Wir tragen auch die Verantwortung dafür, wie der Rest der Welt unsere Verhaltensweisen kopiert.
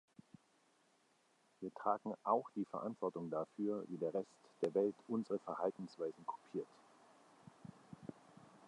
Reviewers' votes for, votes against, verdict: 2, 0, accepted